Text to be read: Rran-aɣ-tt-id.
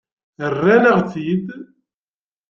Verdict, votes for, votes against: accepted, 2, 0